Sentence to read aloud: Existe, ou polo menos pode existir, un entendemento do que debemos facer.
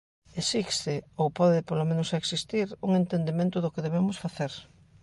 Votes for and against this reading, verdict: 1, 2, rejected